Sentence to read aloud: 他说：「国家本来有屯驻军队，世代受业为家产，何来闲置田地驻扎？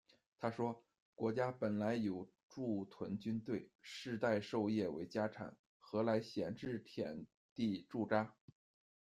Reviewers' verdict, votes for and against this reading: rejected, 0, 2